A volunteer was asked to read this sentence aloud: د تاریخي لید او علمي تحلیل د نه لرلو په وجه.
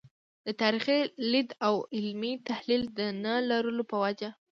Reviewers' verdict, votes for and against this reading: rejected, 1, 2